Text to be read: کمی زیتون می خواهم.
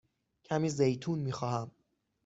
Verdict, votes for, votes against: accepted, 6, 0